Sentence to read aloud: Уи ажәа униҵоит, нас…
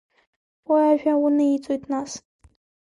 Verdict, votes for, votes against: accepted, 2, 1